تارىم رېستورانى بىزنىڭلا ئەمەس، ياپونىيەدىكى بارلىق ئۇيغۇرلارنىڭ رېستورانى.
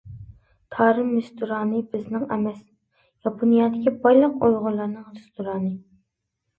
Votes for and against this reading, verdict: 0, 2, rejected